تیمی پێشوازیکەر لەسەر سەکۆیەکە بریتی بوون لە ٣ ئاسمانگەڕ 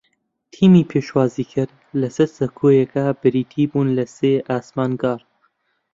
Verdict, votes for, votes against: rejected, 0, 2